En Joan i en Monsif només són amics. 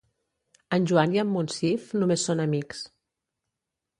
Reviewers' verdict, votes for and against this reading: accepted, 2, 0